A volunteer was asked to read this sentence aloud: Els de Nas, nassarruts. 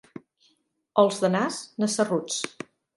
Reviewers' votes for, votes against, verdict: 2, 0, accepted